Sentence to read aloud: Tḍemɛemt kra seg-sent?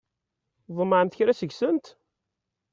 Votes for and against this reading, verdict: 2, 0, accepted